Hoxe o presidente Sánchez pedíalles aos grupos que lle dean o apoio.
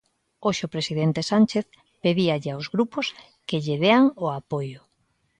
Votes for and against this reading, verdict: 1, 2, rejected